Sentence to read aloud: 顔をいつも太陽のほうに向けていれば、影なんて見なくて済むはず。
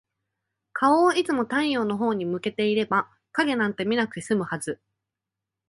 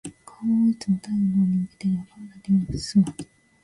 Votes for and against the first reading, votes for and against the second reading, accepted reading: 2, 0, 0, 2, first